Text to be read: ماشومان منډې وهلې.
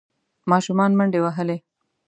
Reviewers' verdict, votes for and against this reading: accepted, 2, 0